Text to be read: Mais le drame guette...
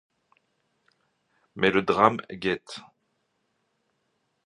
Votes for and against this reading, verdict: 2, 0, accepted